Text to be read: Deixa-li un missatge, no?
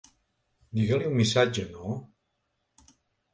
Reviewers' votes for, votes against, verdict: 0, 2, rejected